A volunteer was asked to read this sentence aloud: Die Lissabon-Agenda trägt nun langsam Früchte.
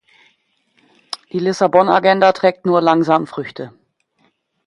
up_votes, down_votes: 0, 2